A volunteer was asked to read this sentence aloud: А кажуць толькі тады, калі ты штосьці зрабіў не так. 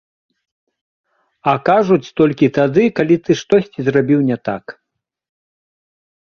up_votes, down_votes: 2, 0